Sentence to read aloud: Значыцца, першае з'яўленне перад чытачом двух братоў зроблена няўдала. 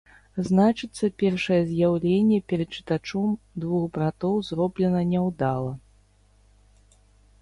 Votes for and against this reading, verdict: 2, 0, accepted